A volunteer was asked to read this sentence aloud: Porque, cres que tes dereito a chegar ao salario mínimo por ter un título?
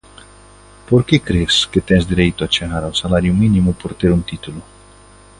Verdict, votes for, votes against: accepted, 2, 1